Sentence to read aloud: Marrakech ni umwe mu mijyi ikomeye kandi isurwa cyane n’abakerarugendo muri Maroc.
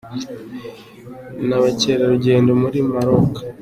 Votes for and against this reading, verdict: 0, 2, rejected